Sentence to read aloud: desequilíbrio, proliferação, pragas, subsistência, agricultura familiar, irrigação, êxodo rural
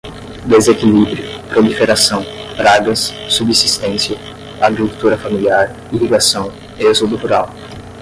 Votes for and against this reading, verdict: 10, 0, accepted